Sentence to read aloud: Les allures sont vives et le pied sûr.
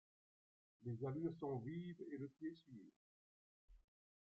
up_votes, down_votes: 2, 1